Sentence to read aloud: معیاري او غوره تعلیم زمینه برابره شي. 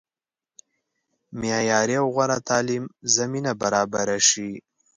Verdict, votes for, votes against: accepted, 2, 0